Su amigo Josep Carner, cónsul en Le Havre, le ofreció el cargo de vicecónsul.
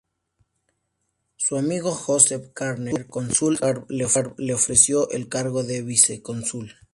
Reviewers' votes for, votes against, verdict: 0, 2, rejected